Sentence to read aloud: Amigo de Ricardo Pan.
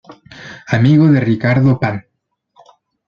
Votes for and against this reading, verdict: 2, 0, accepted